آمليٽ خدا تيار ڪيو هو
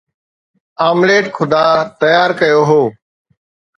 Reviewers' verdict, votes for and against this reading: accepted, 2, 0